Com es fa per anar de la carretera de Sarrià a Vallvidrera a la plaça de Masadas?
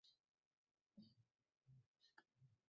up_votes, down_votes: 0, 2